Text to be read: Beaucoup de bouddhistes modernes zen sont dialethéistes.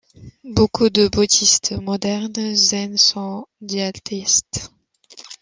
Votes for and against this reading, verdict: 2, 0, accepted